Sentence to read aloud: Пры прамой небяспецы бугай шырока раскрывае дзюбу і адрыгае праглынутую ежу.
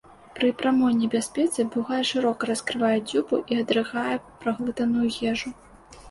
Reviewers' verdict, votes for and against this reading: rejected, 0, 2